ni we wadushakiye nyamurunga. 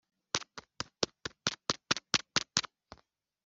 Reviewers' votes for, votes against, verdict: 0, 2, rejected